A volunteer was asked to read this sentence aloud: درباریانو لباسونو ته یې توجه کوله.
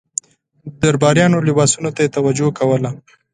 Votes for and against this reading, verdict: 2, 0, accepted